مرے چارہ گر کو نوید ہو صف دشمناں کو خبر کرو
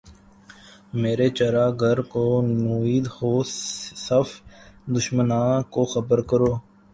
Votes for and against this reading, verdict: 2, 3, rejected